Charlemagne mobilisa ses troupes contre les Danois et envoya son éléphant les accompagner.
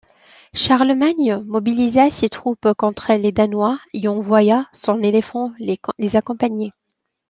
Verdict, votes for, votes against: accepted, 2, 0